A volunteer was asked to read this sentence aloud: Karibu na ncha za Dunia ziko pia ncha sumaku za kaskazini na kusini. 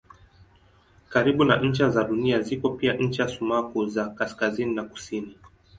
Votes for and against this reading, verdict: 2, 0, accepted